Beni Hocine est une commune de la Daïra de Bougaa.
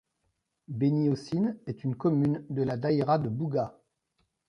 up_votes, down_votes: 2, 0